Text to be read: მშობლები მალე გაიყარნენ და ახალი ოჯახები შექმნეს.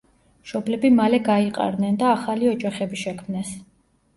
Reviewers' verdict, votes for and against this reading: accepted, 2, 0